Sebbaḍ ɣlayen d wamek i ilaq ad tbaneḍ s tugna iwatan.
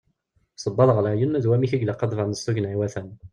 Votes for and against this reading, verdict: 0, 2, rejected